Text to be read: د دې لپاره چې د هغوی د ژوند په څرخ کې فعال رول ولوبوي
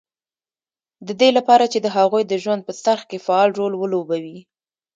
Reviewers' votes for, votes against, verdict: 1, 2, rejected